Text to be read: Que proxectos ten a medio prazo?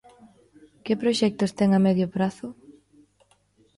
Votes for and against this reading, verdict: 2, 0, accepted